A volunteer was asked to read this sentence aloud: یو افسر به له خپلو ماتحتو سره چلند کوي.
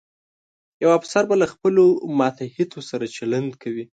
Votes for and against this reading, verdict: 1, 2, rejected